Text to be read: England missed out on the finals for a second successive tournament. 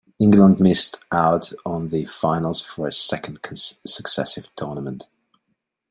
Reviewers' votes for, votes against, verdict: 0, 2, rejected